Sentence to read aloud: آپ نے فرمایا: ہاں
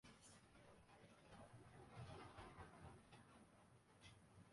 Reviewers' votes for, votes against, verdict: 0, 2, rejected